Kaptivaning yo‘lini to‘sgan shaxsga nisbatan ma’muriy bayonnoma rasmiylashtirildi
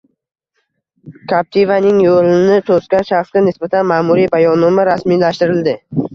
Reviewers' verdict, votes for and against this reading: rejected, 1, 2